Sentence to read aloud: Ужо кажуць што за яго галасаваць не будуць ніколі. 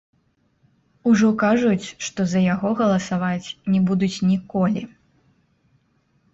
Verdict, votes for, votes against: rejected, 0, 2